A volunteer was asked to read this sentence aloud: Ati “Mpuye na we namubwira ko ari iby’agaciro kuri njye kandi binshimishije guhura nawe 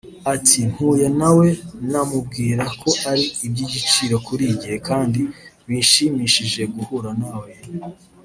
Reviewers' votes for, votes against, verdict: 0, 2, rejected